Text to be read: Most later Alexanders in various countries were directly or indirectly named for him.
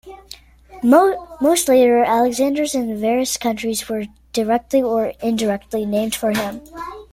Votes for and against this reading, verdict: 2, 0, accepted